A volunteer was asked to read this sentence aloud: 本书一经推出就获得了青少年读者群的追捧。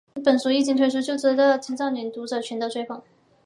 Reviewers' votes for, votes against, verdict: 3, 1, accepted